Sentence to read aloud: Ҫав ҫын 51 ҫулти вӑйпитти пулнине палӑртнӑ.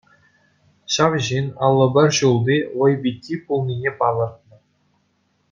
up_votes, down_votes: 0, 2